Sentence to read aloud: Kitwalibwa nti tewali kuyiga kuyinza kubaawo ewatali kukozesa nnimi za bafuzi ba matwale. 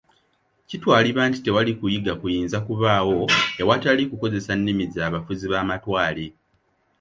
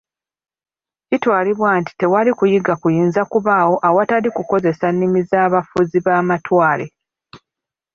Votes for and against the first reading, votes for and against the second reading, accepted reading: 2, 1, 0, 2, first